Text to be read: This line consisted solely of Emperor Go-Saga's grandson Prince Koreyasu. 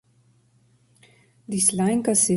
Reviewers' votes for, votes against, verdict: 0, 2, rejected